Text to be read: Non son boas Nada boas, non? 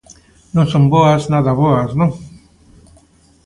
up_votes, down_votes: 2, 0